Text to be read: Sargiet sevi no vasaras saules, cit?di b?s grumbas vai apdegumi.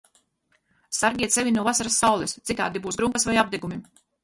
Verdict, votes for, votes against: rejected, 0, 4